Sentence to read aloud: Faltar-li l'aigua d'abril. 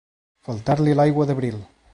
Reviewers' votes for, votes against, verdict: 2, 0, accepted